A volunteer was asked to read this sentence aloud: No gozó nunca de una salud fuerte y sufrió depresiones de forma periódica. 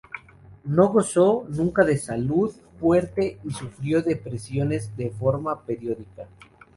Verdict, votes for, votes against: rejected, 0, 2